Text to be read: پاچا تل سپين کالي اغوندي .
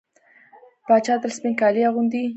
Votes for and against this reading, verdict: 1, 2, rejected